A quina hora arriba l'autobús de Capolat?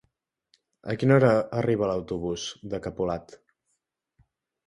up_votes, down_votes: 2, 1